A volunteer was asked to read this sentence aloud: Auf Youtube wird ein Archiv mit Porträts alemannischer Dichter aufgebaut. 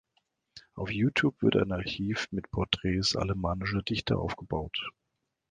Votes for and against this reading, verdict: 2, 0, accepted